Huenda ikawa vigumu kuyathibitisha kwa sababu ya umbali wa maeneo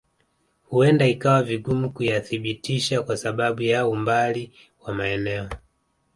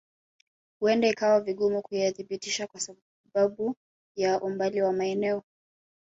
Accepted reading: first